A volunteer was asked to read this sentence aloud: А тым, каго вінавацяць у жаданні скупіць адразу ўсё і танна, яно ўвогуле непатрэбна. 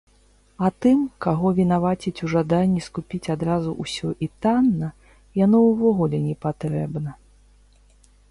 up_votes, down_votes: 2, 0